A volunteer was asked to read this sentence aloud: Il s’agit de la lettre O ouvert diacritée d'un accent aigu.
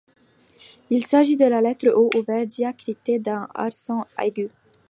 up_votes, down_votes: 2, 0